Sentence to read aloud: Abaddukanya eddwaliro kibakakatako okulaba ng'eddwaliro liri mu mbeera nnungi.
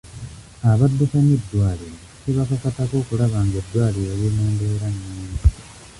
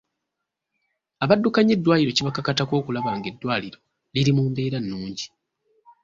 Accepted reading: second